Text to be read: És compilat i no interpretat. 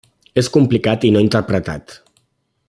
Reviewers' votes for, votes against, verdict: 0, 2, rejected